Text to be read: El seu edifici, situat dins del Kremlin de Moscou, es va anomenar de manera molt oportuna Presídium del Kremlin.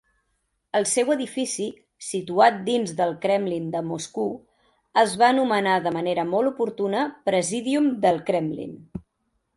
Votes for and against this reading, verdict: 0, 2, rejected